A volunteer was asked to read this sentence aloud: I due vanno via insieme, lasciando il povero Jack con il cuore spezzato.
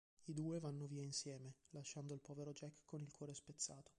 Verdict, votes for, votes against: rejected, 0, 2